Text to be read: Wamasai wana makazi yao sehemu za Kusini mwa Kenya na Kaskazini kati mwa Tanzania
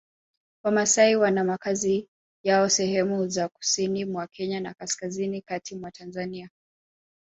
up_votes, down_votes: 2, 1